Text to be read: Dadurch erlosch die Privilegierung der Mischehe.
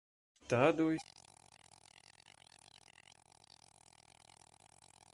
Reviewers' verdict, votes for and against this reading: rejected, 0, 2